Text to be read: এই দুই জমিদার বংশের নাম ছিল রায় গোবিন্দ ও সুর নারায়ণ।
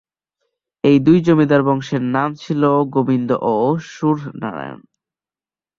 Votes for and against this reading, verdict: 0, 2, rejected